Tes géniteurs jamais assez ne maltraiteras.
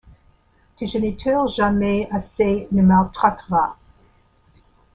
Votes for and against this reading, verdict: 2, 0, accepted